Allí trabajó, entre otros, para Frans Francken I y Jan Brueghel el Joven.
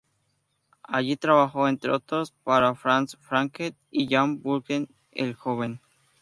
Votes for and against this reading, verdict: 0, 2, rejected